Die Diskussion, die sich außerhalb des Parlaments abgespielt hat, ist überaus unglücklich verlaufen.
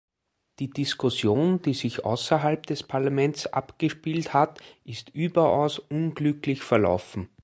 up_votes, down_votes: 2, 0